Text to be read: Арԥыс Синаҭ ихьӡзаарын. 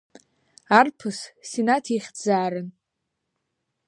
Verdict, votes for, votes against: accepted, 2, 0